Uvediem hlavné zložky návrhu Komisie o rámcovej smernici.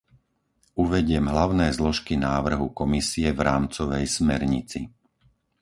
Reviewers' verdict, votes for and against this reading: rejected, 2, 4